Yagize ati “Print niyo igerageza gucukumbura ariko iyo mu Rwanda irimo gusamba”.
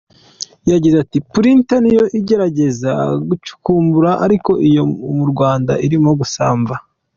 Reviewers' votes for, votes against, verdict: 2, 0, accepted